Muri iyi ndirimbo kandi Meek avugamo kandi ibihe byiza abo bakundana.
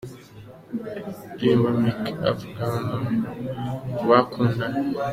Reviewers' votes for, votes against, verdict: 0, 2, rejected